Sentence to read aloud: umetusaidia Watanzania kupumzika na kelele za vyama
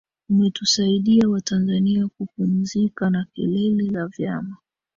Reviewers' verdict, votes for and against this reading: rejected, 0, 2